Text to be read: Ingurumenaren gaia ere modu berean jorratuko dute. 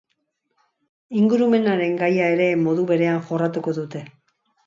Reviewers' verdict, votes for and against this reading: accepted, 2, 0